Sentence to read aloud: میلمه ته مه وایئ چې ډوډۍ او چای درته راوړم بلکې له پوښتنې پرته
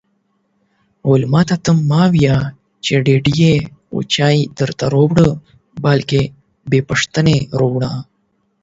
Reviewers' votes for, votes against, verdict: 4, 12, rejected